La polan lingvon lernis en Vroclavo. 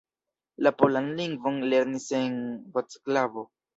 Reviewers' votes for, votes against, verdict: 1, 2, rejected